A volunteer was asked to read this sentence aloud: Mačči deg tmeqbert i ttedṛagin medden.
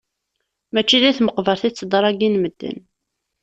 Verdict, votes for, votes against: rejected, 1, 2